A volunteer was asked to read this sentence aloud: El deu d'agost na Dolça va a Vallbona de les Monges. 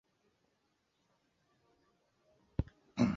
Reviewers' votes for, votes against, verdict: 0, 2, rejected